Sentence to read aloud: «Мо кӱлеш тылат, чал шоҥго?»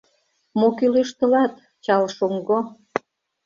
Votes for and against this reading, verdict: 2, 0, accepted